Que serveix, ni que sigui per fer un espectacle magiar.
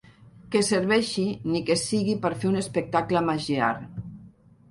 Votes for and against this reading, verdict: 1, 2, rejected